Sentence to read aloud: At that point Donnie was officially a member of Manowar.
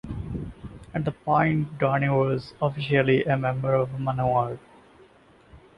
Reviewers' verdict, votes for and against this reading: rejected, 1, 2